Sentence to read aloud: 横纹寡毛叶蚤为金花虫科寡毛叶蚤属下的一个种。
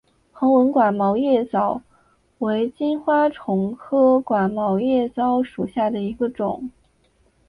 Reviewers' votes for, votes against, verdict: 5, 1, accepted